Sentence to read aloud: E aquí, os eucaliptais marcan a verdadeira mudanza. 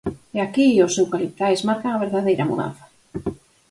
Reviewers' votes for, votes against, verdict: 4, 0, accepted